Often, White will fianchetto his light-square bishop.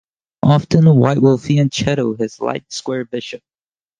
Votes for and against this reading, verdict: 4, 0, accepted